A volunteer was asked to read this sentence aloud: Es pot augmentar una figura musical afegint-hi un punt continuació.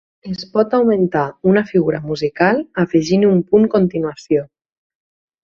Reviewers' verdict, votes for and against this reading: rejected, 2, 4